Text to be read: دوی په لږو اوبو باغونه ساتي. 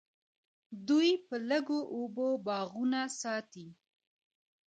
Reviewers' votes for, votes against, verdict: 2, 1, accepted